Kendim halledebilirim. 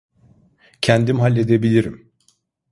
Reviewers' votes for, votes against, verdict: 2, 0, accepted